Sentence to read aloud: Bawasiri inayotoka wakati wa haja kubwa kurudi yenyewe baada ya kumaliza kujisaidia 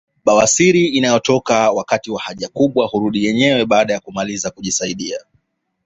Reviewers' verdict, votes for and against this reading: accepted, 2, 0